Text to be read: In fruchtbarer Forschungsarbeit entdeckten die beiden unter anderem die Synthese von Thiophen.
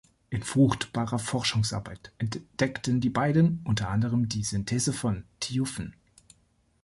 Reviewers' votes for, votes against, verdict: 1, 3, rejected